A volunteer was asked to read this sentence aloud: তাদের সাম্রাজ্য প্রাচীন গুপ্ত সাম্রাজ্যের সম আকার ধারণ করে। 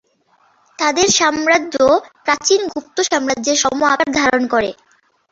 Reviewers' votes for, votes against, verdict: 2, 0, accepted